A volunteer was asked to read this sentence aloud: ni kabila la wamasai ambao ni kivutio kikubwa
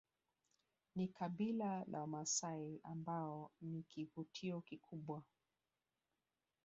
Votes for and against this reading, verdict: 2, 0, accepted